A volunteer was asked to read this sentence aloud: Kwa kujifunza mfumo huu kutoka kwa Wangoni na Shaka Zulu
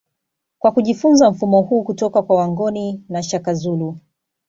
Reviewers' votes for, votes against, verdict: 2, 0, accepted